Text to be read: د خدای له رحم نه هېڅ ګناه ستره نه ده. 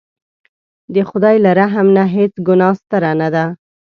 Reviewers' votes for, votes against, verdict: 2, 0, accepted